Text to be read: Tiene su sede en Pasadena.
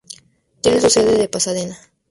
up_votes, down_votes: 0, 2